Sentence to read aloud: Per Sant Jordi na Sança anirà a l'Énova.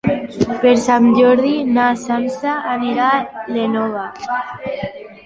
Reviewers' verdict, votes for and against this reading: rejected, 0, 2